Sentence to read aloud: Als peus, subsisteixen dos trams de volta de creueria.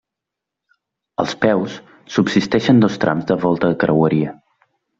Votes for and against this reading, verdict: 1, 2, rejected